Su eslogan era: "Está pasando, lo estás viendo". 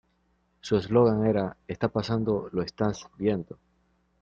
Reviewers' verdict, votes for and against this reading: accepted, 2, 1